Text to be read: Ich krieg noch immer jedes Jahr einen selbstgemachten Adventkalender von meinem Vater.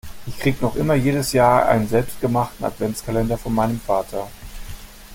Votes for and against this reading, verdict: 1, 2, rejected